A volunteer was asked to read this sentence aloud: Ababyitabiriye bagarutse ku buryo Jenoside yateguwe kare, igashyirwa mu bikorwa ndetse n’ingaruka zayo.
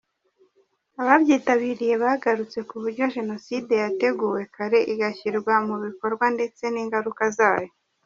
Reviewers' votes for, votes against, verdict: 2, 0, accepted